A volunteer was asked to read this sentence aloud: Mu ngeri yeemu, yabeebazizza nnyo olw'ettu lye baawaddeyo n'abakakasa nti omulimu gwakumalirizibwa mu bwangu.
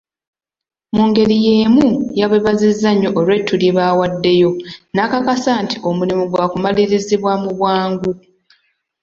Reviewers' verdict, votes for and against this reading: accepted, 2, 0